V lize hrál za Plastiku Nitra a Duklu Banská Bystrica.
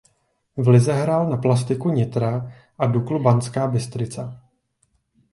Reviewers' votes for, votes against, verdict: 0, 2, rejected